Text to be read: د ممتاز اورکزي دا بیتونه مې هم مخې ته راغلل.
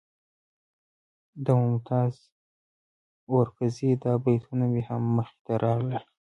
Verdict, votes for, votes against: accepted, 2, 1